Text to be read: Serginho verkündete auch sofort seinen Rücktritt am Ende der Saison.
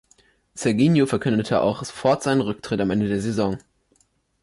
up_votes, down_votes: 2, 0